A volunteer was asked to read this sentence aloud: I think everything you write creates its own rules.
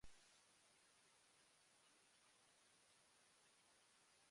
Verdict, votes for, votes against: rejected, 0, 2